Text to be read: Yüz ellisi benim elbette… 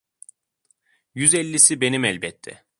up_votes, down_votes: 2, 0